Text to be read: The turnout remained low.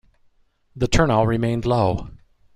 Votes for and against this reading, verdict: 1, 2, rejected